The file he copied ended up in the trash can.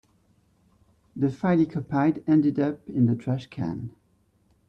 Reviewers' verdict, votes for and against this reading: rejected, 1, 2